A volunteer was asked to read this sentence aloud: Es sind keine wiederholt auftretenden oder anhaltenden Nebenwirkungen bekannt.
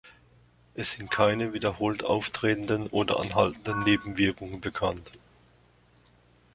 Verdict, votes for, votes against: rejected, 0, 2